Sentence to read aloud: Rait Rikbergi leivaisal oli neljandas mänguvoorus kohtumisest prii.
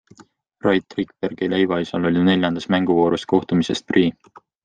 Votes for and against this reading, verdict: 2, 0, accepted